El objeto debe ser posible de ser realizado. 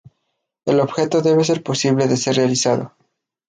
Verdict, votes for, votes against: accepted, 2, 0